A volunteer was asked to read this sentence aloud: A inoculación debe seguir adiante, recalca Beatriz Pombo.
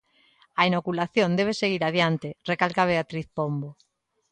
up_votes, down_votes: 3, 0